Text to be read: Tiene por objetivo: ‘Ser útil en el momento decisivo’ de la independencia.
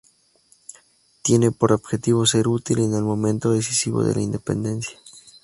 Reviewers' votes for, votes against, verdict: 2, 0, accepted